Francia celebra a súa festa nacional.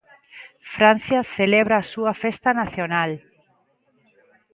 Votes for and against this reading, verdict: 2, 0, accepted